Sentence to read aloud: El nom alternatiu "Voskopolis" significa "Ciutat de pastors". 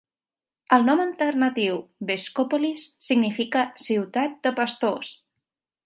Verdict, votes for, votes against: accepted, 3, 2